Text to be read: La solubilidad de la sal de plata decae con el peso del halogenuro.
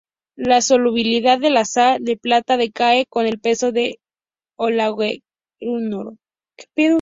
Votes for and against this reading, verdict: 0, 2, rejected